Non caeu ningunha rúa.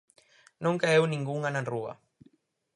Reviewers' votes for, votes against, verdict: 2, 2, rejected